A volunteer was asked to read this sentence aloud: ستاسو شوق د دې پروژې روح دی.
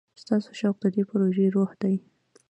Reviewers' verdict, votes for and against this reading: rejected, 1, 2